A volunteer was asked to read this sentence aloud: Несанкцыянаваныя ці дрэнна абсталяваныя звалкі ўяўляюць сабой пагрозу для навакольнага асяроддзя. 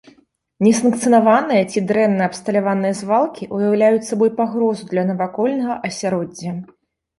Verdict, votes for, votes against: accepted, 2, 0